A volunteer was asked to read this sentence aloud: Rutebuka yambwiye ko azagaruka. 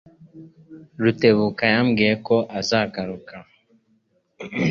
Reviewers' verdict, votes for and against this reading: accepted, 2, 0